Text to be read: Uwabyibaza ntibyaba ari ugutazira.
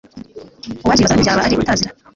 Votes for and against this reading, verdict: 0, 2, rejected